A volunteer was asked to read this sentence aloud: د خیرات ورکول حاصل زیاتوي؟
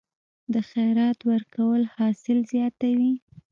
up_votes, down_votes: 0, 2